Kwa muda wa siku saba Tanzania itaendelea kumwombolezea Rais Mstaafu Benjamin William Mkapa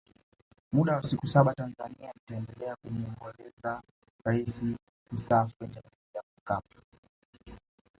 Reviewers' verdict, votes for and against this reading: rejected, 1, 2